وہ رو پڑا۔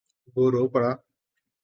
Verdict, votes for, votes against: accepted, 3, 0